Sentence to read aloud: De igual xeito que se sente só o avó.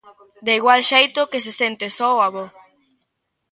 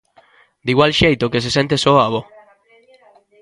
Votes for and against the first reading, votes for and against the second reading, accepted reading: 2, 0, 1, 2, first